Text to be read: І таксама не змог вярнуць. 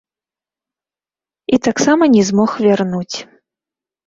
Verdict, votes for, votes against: rejected, 1, 2